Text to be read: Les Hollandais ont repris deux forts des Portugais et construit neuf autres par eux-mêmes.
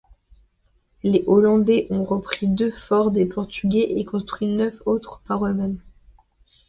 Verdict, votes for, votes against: accepted, 2, 0